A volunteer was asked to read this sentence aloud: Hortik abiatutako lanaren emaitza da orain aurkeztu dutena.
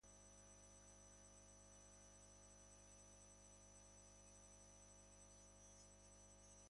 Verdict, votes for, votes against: rejected, 0, 2